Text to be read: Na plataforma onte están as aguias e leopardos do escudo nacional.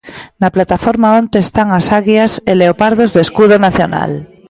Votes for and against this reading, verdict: 1, 2, rejected